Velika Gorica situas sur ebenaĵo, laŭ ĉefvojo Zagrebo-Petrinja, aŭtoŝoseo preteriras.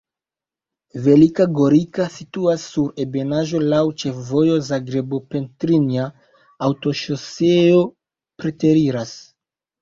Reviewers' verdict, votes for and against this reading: rejected, 0, 2